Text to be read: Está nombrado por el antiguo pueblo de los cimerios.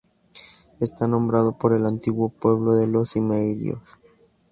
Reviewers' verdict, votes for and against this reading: accepted, 4, 0